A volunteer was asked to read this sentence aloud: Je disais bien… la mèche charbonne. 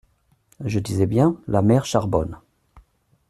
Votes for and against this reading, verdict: 0, 2, rejected